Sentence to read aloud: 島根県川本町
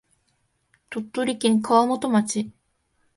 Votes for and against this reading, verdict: 1, 2, rejected